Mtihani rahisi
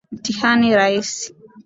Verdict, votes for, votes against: accepted, 2, 0